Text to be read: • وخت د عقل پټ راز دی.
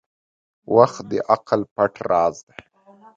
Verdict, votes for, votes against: accepted, 2, 0